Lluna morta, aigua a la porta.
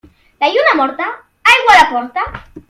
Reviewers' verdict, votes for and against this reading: rejected, 0, 2